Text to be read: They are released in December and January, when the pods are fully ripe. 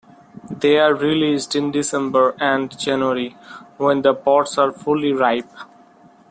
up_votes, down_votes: 2, 1